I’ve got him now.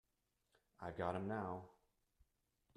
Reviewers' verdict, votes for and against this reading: rejected, 0, 2